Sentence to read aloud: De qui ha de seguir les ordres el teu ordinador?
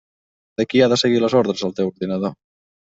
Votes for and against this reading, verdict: 3, 1, accepted